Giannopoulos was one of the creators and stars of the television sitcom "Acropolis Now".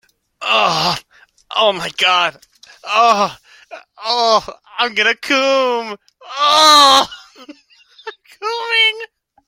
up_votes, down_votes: 0, 2